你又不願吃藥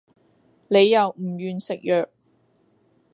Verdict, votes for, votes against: rejected, 1, 2